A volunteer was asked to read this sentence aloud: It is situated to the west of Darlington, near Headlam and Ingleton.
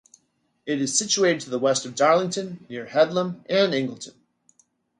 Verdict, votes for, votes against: accepted, 2, 0